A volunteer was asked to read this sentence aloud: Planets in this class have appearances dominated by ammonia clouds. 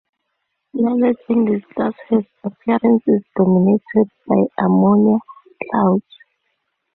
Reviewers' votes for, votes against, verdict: 0, 2, rejected